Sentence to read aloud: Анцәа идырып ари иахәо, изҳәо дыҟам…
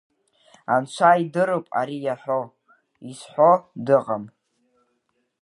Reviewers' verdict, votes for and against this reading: rejected, 1, 2